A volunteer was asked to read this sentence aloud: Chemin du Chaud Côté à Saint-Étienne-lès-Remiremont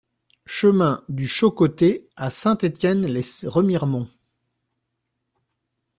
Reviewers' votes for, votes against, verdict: 1, 2, rejected